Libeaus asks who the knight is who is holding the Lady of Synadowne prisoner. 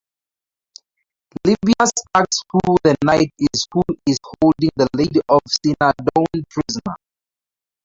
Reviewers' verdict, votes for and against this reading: rejected, 0, 2